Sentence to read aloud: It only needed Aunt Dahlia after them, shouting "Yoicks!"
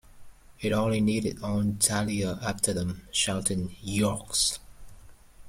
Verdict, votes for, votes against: rejected, 1, 2